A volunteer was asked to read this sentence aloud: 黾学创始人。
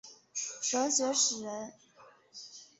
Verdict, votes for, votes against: accepted, 7, 0